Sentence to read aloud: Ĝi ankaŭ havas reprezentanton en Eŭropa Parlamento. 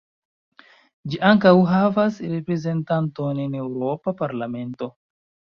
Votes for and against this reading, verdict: 2, 1, accepted